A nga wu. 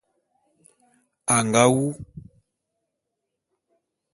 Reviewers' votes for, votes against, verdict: 2, 0, accepted